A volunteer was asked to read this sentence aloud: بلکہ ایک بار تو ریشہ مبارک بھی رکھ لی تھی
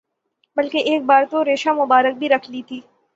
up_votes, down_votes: 9, 0